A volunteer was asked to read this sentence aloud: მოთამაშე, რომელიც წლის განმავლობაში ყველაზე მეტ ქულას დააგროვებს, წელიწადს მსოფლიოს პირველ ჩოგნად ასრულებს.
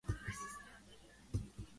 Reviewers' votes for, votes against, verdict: 0, 3, rejected